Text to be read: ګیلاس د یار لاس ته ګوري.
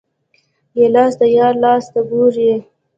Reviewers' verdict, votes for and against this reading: accepted, 2, 0